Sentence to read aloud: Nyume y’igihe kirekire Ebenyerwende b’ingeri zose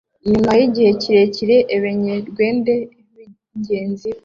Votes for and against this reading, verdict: 0, 2, rejected